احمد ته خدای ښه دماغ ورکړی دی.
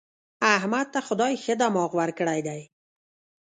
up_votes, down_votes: 0, 2